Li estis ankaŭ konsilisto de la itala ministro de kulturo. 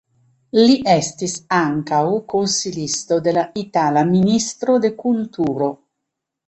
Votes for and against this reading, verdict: 2, 1, accepted